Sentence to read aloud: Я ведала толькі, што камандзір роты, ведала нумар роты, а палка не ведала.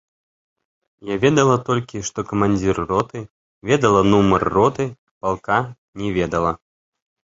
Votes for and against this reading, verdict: 0, 2, rejected